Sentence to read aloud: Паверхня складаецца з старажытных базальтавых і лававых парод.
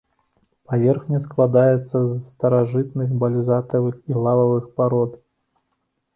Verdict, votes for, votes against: rejected, 0, 2